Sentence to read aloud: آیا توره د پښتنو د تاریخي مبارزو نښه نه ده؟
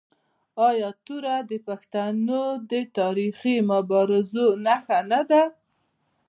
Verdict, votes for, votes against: accepted, 2, 0